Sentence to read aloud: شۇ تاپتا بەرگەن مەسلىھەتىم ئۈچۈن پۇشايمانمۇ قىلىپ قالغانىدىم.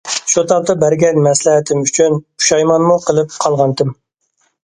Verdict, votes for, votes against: rejected, 1, 2